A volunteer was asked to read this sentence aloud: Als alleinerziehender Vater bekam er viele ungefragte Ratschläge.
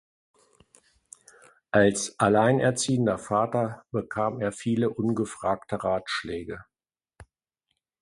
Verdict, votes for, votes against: accepted, 2, 0